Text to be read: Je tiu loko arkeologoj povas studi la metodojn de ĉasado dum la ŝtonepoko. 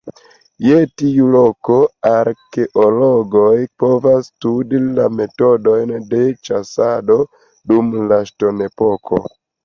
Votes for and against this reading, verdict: 2, 0, accepted